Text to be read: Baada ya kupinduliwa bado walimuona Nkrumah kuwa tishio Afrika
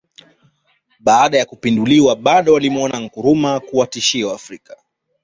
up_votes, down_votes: 1, 2